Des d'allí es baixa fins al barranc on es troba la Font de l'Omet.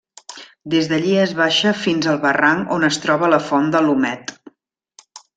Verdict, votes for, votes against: accepted, 2, 0